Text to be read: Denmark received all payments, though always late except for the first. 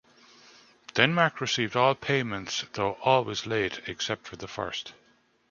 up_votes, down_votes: 2, 0